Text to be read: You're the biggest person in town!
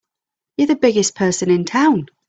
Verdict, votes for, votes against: accepted, 3, 0